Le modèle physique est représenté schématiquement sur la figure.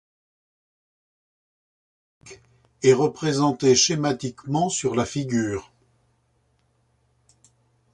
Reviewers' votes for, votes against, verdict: 0, 2, rejected